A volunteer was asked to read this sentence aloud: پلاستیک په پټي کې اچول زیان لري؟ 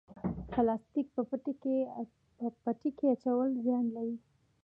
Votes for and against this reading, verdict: 2, 1, accepted